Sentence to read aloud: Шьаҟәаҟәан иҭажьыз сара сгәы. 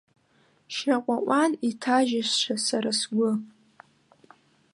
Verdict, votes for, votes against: accepted, 2, 1